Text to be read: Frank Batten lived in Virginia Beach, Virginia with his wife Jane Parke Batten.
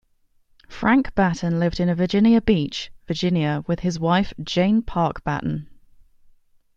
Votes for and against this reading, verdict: 1, 2, rejected